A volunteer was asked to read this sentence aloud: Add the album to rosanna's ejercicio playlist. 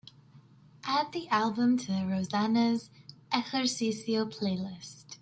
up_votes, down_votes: 2, 0